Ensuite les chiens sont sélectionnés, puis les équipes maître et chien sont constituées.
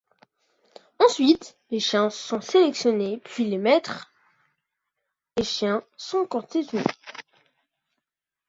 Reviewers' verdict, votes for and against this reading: rejected, 0, 2